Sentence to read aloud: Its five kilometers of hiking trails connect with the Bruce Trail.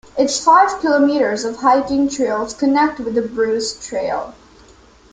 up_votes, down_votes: 2, 0